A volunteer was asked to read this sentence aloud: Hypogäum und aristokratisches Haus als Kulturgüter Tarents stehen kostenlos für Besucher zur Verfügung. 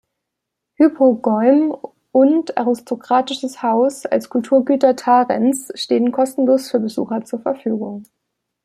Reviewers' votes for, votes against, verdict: 2, 3, rejected